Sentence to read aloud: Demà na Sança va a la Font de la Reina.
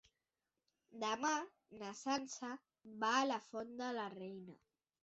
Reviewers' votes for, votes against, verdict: 3, 0, accepted